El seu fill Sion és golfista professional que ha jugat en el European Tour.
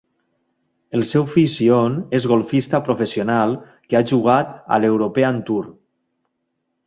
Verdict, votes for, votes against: rejected, 2, 3